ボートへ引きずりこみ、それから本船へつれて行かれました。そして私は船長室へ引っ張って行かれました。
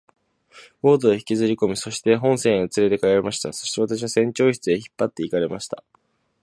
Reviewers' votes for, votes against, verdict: 1, 2, rejected